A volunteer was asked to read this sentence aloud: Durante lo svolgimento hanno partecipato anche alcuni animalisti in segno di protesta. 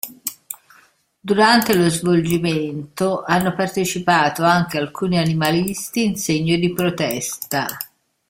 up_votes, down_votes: 2, 0